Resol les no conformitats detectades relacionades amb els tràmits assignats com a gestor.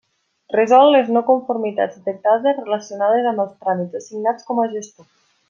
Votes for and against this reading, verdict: 3, 0, accepted